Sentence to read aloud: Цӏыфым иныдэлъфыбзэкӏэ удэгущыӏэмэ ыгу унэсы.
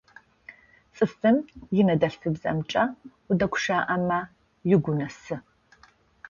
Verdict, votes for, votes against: rejected, 0, 2